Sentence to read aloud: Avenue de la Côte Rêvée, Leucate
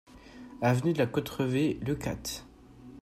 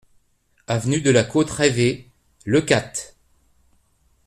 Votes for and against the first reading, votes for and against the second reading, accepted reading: 1, 2, 2, 0, second